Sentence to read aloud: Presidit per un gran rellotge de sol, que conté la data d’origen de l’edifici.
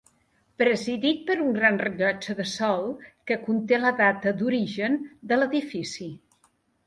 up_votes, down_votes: 3, 0